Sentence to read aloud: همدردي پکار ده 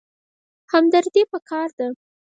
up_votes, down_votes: 0, 4